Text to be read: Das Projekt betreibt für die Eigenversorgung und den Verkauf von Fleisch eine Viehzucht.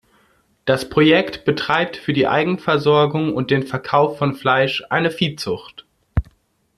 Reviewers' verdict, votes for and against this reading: accepted, 2, 0